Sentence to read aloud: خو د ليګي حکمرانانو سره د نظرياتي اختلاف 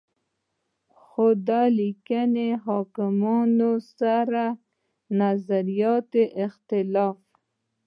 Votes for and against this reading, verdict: 1, 2, rejected